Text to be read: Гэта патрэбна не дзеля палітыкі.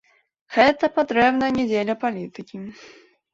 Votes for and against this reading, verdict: 2, 0, accepted